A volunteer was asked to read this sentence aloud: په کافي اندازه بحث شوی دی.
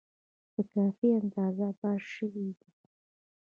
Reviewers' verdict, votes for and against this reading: accepted, 2, 1